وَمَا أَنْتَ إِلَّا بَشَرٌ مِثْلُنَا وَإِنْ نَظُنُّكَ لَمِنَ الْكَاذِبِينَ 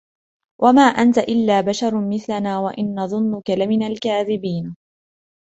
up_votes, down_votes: 2, 0